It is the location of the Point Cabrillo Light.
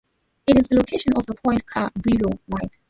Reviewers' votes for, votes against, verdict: 0, 2, rejected